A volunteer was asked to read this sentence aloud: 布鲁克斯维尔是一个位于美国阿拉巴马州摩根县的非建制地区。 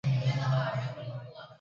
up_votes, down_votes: 0, 2